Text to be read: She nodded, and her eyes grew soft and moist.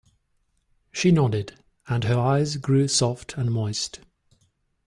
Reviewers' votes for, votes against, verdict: 2, 0, accepted